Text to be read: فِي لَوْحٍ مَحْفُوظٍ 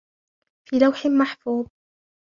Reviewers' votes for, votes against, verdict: 1, 2, rejected